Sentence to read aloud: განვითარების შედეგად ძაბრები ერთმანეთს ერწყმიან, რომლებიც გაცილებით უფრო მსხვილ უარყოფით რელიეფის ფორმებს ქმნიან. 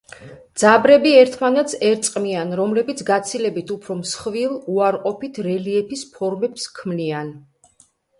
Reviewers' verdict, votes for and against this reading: rejected, 1, 2